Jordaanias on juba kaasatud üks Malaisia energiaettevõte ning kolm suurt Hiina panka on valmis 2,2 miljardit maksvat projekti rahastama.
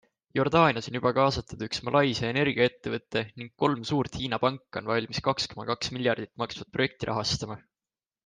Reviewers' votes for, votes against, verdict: 0, 2, rejected